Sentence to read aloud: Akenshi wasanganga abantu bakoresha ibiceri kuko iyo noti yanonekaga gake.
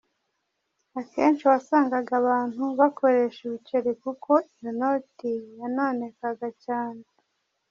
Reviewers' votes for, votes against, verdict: 1, 2, rejected